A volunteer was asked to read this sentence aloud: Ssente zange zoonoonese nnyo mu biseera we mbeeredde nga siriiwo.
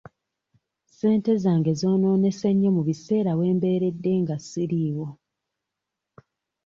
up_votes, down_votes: 3, 0